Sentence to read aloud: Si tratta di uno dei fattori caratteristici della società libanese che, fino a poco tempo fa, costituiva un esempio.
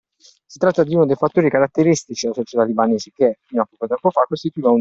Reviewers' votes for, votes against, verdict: 0, 2, rejected